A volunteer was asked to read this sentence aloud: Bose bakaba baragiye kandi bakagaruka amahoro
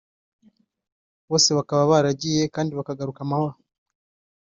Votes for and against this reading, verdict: 2, 0, accepted